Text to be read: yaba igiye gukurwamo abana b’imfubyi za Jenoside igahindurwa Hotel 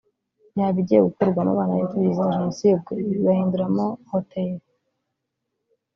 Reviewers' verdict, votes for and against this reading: rejected, 1, 2